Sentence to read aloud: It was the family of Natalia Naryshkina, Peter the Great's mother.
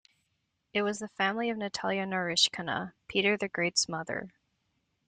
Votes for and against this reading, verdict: 2, 0, accepted